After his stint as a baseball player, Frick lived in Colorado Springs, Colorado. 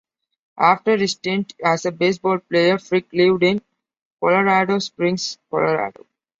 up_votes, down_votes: 2, 1